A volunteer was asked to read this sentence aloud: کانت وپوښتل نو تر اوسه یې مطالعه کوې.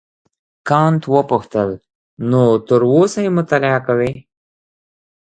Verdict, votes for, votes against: accepted, 2, 1